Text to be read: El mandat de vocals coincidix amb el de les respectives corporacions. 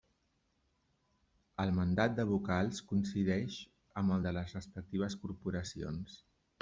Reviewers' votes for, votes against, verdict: 0, 2, rejected